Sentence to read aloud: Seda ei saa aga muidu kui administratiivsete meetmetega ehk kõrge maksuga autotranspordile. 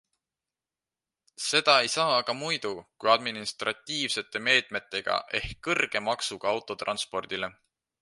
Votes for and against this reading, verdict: 2, 0, accepted